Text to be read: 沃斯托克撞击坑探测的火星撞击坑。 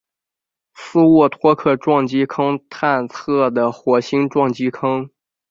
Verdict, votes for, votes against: rejected, 1, 2